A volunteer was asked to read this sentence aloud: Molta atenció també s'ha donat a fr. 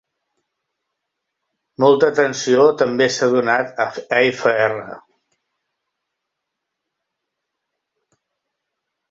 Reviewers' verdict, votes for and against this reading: rejected, 0, 2